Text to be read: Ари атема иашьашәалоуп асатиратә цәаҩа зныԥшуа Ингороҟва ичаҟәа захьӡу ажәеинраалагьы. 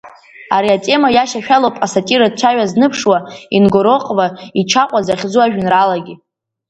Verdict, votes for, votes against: rejected, 1, 2